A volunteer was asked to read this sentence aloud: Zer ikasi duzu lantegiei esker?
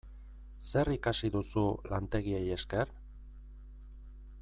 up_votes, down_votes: 2, 0